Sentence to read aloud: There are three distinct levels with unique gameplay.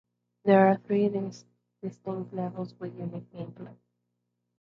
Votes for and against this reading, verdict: 0, 2, rejected